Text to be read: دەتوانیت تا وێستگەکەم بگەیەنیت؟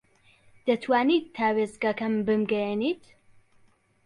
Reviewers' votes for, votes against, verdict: 1, 2, rejected